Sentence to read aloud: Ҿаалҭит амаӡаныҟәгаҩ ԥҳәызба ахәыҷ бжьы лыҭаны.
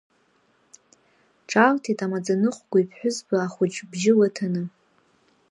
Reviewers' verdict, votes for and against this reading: accepted, 2, 0